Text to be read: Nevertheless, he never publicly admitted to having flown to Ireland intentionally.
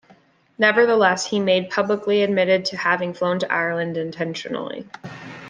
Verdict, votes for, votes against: rejected, 0, 2